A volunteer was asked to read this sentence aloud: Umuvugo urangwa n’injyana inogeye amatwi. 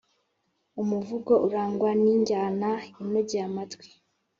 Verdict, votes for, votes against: accepted, 2, 0